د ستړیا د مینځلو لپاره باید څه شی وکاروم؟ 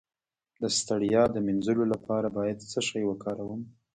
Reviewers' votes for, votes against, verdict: 0, 2, rejected